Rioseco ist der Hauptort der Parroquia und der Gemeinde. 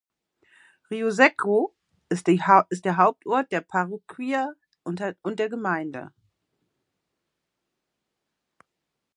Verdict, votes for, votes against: rejected, 0, 2